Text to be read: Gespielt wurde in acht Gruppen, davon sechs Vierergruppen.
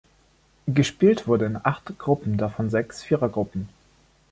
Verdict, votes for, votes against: accepted, 2, 0